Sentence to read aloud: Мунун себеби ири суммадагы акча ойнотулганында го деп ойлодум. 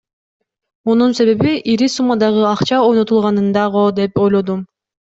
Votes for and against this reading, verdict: 2, 0, accepted